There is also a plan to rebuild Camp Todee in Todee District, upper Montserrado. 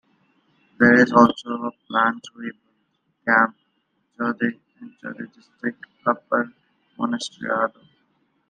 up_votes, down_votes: 0, 2